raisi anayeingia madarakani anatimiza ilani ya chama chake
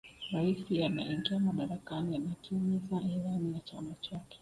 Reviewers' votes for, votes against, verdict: 1, 2, rejected